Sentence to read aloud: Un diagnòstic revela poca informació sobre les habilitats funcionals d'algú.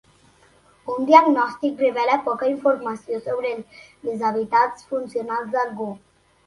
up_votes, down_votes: 1, 2